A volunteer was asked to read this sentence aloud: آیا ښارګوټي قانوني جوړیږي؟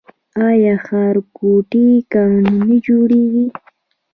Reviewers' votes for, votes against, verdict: 2, 0, accepted